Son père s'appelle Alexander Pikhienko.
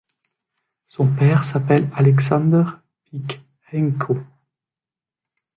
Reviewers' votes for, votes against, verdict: 2, 0, accepted